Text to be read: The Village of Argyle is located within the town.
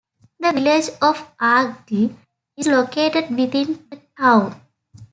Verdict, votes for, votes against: rejected, 0, 2